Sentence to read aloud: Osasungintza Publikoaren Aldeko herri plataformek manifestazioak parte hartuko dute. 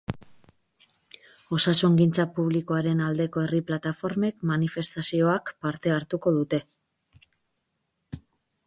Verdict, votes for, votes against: accepted, 4, 0